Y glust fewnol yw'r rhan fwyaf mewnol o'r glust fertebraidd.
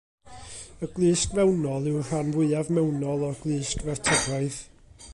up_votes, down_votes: 1, 2